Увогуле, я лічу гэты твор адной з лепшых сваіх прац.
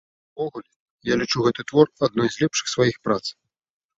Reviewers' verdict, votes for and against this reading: rejected, 1, 2